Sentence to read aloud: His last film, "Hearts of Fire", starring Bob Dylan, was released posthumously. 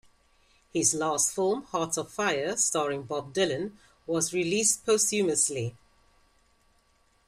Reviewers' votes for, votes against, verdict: 2, 0, accepted